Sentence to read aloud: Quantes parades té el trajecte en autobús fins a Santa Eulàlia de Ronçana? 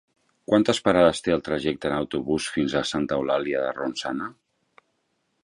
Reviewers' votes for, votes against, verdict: 3, 0, accepted